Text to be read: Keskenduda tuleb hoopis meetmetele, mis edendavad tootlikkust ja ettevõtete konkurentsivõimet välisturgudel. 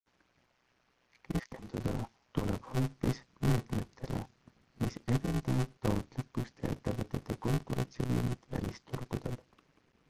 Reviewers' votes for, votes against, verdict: 0, 2, rejected